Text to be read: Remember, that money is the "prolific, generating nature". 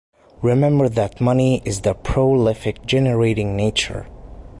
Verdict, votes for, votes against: rejected, 1, 2